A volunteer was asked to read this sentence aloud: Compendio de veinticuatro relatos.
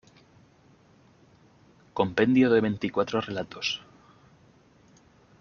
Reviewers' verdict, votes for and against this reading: accepted, 2, 0